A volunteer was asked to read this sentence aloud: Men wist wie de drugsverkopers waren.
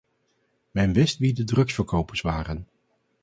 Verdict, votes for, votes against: accepted, 4, 0